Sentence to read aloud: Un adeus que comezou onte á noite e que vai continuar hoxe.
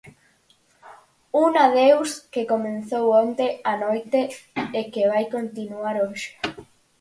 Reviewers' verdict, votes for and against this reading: rejected, 0, 4